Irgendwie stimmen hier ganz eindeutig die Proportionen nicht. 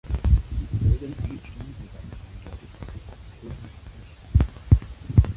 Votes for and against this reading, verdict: 0, 2, rejected